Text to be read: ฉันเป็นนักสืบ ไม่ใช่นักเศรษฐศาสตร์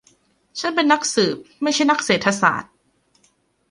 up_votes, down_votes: 2, 1